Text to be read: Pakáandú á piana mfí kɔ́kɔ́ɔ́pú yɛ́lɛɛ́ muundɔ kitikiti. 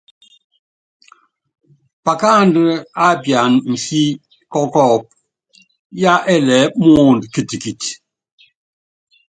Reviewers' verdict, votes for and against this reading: accepted, 2, 0